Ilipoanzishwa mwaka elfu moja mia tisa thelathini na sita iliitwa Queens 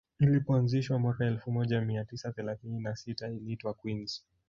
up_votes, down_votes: 1, 2